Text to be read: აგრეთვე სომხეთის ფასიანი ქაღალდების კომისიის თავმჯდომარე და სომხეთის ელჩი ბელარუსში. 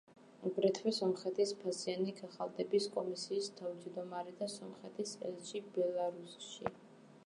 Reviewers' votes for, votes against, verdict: 2, 0, accepted